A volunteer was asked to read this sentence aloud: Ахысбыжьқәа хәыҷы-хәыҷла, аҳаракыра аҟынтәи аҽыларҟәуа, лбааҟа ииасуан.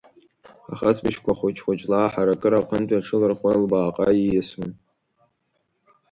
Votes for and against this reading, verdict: 2, 0, accepted